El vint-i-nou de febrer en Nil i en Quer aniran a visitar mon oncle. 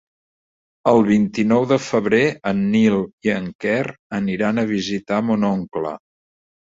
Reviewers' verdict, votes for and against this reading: accepted, 3, 0